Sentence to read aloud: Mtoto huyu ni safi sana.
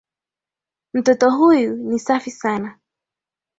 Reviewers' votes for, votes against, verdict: 2, 0, accepted